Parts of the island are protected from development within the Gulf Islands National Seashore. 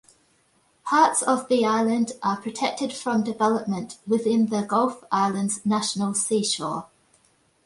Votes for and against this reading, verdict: 2, 0, accepted